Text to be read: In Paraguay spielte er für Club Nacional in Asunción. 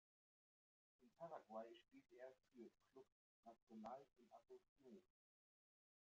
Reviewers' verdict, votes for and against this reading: rejected, 0, 2